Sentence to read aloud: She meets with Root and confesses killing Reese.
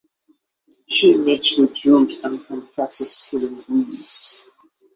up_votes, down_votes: 3, 6